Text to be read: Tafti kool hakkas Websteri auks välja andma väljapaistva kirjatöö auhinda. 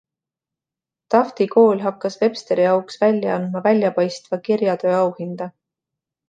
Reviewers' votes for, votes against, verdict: 2, 1, accepted